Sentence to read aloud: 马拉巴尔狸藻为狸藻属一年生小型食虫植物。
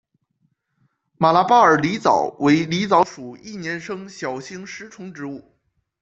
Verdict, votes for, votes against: accepted, 2, 0